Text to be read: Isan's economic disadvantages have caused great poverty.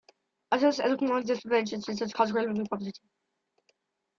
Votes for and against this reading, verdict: 0, 2, rejected